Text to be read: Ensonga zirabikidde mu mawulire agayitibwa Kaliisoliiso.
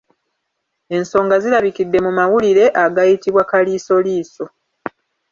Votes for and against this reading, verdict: 2, 0, accepted